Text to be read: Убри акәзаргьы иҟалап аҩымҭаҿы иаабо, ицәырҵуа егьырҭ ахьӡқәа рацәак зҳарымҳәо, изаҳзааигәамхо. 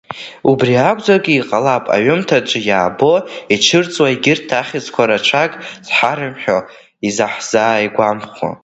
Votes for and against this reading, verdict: 0, 2, rejected